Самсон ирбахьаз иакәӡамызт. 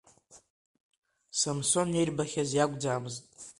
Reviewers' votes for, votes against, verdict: 2, 0, accepted